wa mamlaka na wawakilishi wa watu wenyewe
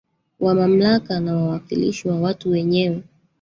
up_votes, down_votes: 0, 2